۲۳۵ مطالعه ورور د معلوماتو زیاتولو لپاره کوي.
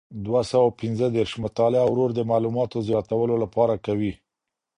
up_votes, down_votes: 0, 2